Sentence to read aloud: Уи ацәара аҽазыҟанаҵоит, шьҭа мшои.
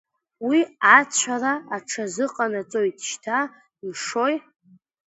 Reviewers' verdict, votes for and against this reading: accepted, 2, 0